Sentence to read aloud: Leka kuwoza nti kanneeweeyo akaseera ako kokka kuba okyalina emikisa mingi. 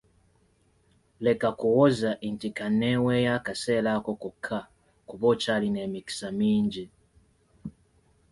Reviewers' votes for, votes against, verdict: 2, 0, accepted